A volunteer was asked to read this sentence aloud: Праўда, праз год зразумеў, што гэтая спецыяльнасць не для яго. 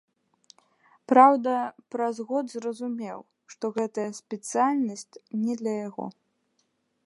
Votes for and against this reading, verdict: 2, 0, accepted